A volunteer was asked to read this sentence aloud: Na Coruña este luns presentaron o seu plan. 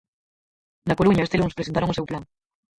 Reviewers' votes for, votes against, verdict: 0, 4, rejected